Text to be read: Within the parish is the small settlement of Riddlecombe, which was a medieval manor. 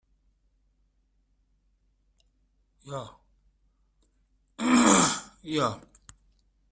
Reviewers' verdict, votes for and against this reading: rejected, 0, 2